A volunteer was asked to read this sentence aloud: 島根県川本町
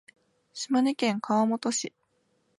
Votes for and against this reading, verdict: 0, 2, rejected